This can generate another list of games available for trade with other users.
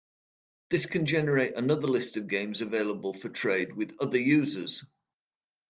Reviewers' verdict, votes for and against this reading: accepted, 2, 0